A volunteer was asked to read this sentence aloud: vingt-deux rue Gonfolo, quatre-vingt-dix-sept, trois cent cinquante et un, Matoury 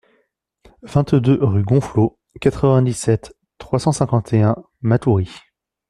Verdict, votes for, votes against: accepted, 2, 1